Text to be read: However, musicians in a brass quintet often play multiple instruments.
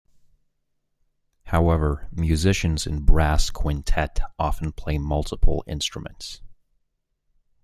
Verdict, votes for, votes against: rejected, 1, 2